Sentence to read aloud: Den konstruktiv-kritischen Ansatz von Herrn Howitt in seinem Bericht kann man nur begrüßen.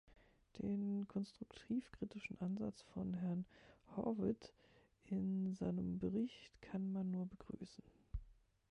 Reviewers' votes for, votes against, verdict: 0, 2, rejected